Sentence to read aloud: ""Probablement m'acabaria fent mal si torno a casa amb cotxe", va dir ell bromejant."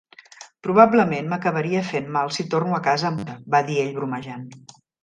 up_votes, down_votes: 0, 2